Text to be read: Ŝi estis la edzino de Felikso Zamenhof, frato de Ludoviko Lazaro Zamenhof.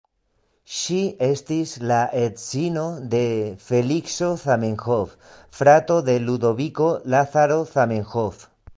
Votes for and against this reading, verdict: 2, 0, accepted